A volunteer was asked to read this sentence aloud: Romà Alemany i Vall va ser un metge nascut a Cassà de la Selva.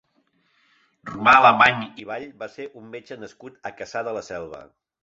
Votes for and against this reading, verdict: 3, 0, accepted